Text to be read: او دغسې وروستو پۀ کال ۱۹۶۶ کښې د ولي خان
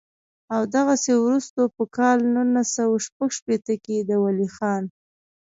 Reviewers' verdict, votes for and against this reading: rejected, 0, 2